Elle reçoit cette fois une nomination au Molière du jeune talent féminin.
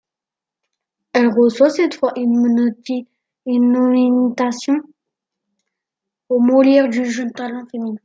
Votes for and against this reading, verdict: 0, 2, rejected